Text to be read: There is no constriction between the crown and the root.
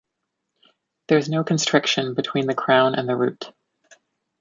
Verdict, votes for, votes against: rejected, 1, 2